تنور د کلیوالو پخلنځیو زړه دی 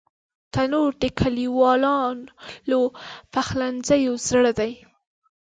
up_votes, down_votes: 2, 1